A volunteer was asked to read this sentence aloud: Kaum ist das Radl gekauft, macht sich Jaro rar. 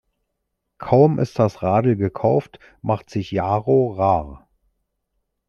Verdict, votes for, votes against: accepted, 2, 0